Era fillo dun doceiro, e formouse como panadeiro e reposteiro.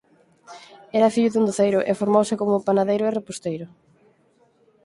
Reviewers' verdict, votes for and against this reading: rejected, 2, 4